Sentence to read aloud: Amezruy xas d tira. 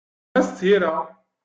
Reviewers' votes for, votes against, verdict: 0, 2, rejected